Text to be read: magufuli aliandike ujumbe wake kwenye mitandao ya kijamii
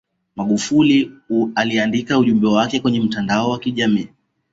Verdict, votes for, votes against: accepted, 2, 1